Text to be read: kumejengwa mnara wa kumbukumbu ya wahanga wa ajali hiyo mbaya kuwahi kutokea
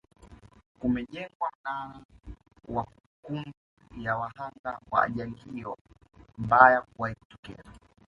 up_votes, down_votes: 1, 2